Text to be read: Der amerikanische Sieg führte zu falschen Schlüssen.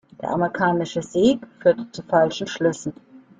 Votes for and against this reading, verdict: 1, 2, rejected